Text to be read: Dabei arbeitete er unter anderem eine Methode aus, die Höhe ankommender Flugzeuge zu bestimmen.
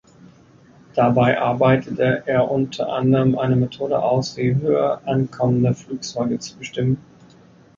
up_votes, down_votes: 3, 0